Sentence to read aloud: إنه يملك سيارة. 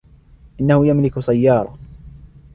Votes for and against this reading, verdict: 2, 0, accepted